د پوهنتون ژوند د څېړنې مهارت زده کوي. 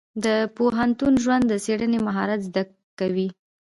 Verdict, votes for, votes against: rejected, 0, 2